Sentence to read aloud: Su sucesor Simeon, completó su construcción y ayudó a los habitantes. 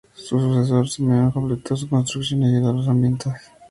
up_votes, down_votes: 0, 2